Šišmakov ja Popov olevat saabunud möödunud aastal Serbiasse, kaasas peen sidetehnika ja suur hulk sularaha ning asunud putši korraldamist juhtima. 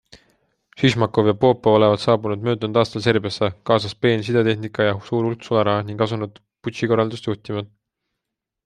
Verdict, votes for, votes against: accepted, 2, 0